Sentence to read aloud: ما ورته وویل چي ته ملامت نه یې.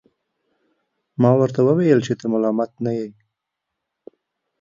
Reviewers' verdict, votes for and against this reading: accepted, 2, 0